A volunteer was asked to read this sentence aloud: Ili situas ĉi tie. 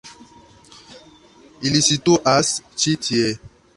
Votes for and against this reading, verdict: 2, 1, accepted